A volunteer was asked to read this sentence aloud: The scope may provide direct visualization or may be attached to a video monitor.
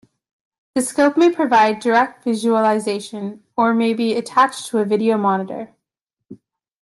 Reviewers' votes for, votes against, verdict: 2, 0, accepted